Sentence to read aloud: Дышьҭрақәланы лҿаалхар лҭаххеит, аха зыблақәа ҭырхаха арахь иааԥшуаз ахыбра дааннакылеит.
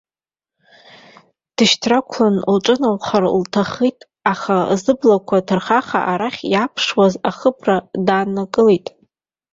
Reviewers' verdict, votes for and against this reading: rejected, 1, 2